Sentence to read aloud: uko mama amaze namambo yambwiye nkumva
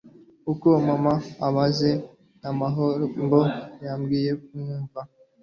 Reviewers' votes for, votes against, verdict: 1, 2, rejected